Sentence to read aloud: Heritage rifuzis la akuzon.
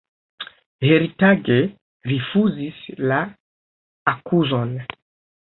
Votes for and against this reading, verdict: 1, 2, rejected